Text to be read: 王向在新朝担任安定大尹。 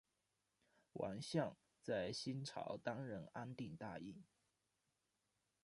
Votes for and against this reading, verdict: 1, 2, rejected